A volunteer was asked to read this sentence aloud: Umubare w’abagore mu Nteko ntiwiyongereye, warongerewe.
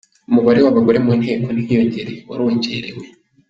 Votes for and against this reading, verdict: 2, 0, accepted